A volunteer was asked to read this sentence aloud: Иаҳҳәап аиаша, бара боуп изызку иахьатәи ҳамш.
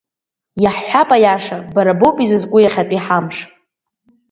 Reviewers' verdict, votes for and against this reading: accepted, 2, 0